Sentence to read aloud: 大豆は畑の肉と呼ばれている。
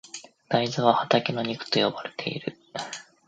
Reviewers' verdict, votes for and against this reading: accepted, 2, 0